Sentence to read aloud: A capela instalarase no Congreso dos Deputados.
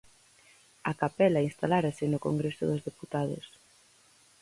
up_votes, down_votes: 0, 4